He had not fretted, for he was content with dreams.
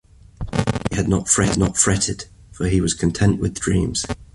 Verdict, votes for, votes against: rejected, 0, 2